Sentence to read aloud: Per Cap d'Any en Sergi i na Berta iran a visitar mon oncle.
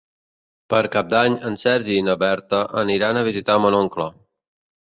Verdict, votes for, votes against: rejected, 0, 2